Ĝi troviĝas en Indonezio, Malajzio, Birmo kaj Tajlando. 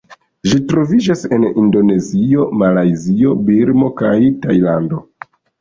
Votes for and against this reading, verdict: 1, 2, rejected